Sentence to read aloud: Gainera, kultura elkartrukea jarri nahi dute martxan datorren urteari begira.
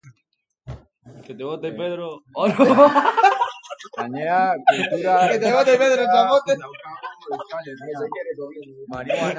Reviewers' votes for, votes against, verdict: 0, 2, rejected